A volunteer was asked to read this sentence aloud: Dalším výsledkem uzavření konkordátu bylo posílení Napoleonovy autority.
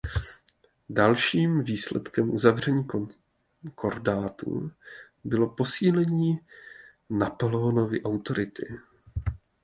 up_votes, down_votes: 0, 2